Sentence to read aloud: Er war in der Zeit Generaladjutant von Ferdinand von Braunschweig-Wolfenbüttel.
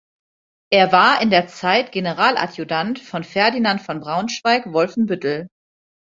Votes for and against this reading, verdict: 2, 0, accepted